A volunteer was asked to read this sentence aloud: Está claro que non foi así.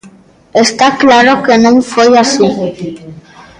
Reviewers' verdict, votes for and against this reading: rejected, 1, 2